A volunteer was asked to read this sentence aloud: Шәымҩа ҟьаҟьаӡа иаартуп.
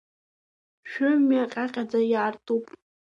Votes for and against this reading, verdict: 2, 1, accepted